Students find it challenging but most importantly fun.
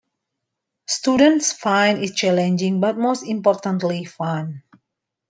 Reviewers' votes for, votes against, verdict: 2, 0, accepted